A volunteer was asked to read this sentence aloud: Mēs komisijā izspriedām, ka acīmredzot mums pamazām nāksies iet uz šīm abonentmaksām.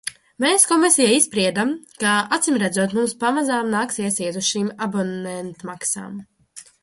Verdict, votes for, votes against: rejected, 0, 2